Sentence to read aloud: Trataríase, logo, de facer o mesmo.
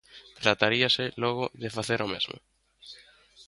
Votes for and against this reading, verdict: 2, 0, accepted